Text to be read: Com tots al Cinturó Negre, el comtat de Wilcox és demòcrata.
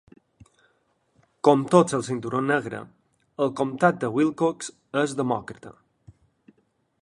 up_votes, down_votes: 2, 0